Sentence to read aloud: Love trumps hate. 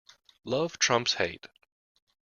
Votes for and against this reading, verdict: 2, 0, accepted